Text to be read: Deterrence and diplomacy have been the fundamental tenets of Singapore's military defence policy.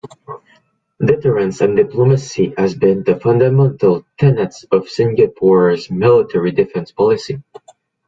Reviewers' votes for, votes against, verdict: 0, 2, rejected